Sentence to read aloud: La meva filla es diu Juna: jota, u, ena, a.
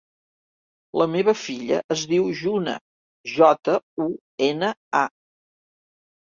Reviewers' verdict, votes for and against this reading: accepted, 2, 0